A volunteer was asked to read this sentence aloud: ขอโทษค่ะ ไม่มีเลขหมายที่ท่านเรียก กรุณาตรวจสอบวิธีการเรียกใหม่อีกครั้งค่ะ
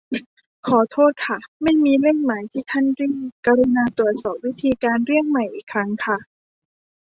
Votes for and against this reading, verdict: 1, 2, rejected